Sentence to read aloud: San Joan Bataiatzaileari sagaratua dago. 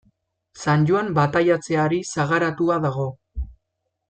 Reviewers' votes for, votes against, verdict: 1, 2, rejected